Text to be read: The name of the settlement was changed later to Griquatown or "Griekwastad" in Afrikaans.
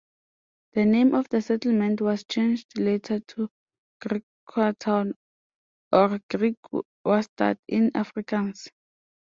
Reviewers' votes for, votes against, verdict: 1, 2, rejected